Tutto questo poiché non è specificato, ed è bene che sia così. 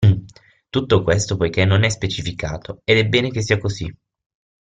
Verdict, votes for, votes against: accepted, 6, 3